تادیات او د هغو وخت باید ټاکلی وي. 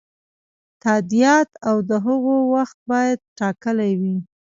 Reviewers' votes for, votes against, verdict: 0, 2, rejected